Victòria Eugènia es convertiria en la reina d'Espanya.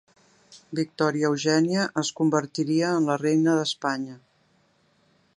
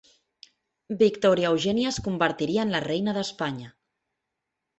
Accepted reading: first